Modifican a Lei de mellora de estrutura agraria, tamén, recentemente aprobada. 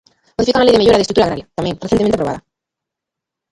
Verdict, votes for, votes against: rejected, 1, 2